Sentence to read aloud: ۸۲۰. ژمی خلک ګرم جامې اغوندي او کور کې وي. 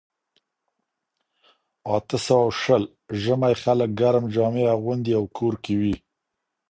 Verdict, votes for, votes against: rejected, 0, 2